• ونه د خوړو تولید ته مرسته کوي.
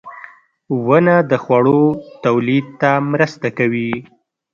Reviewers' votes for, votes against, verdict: 1, 2, rejected